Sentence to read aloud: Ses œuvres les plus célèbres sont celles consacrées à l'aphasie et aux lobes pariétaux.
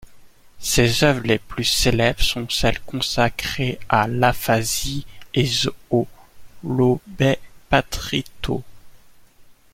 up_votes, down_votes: 0, 2